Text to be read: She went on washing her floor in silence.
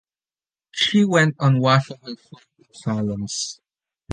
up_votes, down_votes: 1, 2